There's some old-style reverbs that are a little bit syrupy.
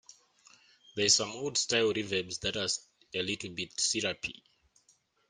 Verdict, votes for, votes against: rejected, 0, 2